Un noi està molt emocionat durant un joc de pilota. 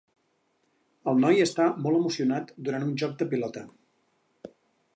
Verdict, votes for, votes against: rejected, 0, 4